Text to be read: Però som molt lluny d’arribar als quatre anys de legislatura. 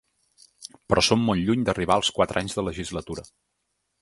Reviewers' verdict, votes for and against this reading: accepted, 2, 0